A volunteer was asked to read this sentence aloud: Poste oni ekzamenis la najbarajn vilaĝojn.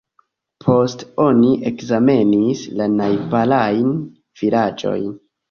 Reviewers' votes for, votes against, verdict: 1, 2, rejected